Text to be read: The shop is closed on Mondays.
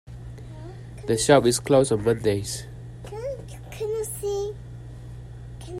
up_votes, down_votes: 0, 2